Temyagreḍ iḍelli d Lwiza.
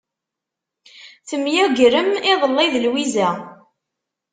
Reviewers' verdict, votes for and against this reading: rejected, 0, 2